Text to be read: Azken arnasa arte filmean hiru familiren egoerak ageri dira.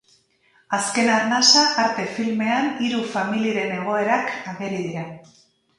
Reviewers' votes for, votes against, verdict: 2, 0, accepted